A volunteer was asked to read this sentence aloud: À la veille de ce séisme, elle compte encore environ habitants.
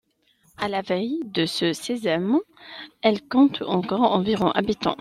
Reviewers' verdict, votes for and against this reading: rejected, 0, 2